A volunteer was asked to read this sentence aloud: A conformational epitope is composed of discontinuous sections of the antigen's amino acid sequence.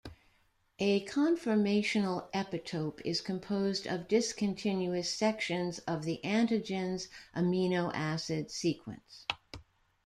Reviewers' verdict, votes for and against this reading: accepted, 2, 0